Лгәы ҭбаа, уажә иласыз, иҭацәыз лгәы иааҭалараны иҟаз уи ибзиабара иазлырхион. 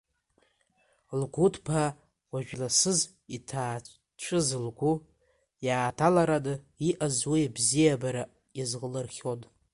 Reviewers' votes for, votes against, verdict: 0, 2, rejected